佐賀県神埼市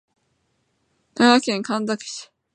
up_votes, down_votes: 3, 2